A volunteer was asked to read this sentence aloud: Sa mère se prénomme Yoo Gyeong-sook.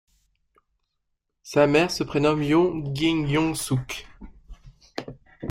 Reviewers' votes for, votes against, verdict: 3, 0, accepted